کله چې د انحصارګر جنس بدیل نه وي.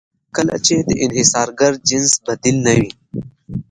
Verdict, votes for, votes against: accepted, 2, 0